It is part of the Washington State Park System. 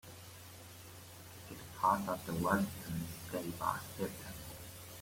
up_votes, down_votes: 0, 2